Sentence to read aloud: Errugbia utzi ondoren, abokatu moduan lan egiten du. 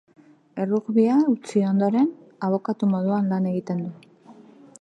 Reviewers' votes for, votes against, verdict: 2, 0, accepted